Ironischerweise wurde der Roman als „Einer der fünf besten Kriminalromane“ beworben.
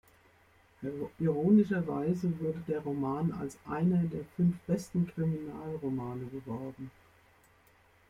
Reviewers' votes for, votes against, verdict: 1, 2, rejected